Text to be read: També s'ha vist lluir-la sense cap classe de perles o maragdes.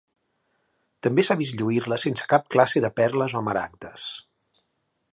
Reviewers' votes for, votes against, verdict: 2, 0, accepted